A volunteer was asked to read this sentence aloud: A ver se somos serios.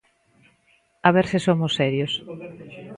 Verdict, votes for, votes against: accepted, 2, 0